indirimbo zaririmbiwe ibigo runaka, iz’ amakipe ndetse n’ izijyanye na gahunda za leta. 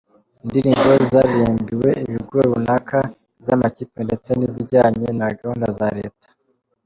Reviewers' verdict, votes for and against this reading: accepted, 2, 0